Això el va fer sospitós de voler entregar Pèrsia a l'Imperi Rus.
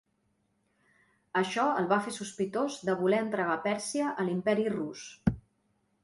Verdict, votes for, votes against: rejected, 0, 2